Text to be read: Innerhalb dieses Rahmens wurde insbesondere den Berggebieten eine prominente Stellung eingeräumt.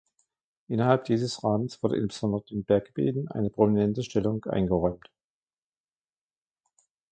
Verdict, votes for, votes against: accepted, 3, 0